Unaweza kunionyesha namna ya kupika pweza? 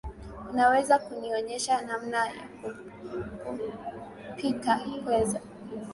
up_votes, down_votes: 1, 3